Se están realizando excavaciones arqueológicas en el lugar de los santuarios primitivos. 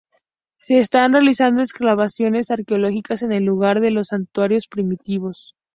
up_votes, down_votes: 0, 2